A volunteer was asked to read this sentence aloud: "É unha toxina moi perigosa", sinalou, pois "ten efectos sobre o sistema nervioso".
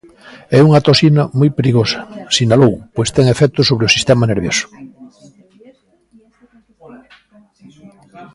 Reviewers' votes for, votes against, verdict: 1, 2, rejected